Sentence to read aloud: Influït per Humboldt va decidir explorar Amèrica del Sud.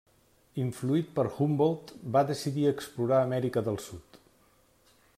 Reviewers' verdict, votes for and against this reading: accepted, 3, 0